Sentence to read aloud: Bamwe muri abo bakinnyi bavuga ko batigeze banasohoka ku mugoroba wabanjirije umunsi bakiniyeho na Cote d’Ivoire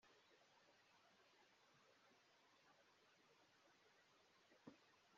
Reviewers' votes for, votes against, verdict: 0, 3, rejected